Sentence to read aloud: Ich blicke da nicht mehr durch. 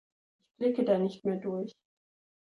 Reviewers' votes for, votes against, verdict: 1, 2, rejected